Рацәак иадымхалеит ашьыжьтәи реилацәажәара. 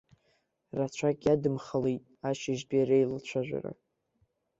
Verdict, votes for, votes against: accepted, 2, 0